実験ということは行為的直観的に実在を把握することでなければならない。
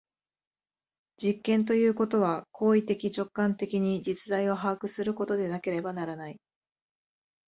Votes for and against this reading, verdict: 2, 0, accepted